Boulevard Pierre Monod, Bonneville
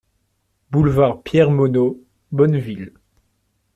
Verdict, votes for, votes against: accepted, 2, 0